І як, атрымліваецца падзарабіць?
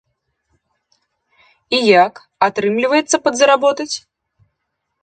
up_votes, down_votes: 0, 2